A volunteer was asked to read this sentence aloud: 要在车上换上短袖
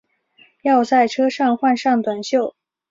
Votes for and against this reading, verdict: 3, 0, accepted